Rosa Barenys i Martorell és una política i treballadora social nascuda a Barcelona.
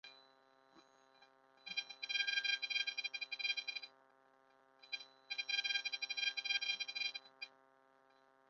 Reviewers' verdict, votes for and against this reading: rejected, 1, 2